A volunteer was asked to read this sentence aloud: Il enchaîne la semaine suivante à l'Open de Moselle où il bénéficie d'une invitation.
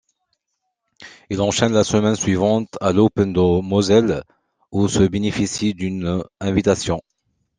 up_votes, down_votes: 0, 3